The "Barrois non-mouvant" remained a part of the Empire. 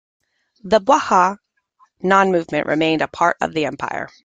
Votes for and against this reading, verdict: 1, 2, rejected